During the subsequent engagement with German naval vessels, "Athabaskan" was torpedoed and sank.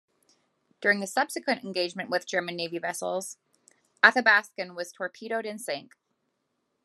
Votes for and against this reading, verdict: 2, 0, accepted